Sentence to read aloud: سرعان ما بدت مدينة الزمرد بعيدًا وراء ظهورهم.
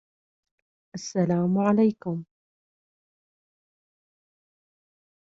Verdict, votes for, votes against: rejected, 0, 2